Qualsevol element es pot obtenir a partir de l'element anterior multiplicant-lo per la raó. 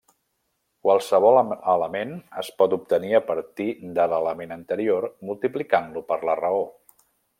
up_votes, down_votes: 1, 2